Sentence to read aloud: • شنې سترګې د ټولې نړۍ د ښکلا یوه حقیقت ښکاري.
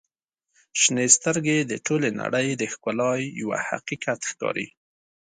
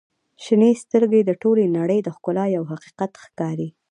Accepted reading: first